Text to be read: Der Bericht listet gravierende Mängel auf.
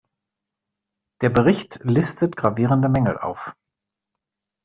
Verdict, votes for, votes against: accepted, 2, 0